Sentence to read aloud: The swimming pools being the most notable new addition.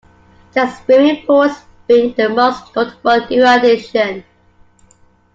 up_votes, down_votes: 2, 0